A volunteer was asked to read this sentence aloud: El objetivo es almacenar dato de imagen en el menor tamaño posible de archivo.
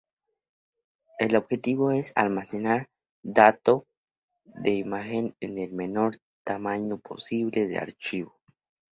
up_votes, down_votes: 0, 2